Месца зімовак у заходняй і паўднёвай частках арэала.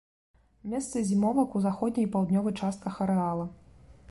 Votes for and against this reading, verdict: 2, 0, accepted